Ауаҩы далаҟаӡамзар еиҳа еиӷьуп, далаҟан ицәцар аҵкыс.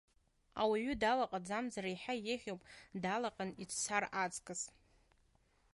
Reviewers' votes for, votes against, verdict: 2, 0, accepted